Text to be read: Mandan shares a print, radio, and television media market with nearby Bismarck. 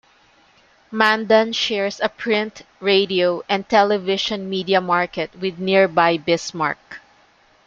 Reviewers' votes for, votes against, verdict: 2, 0, accepted